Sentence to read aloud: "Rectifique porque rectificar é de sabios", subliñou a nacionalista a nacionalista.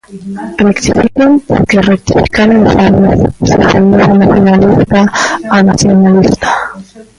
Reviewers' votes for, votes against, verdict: 0, 2, rejected